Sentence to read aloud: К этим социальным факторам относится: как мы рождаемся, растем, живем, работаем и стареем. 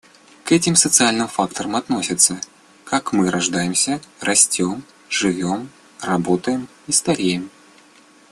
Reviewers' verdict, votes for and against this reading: accepted, 2, 0